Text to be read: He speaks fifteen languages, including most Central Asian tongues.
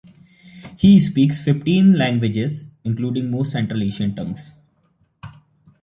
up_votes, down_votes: 2, 0